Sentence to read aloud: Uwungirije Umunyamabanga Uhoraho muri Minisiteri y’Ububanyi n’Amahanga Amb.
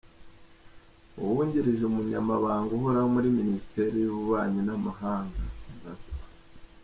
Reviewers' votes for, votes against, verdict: 2, 0, accepted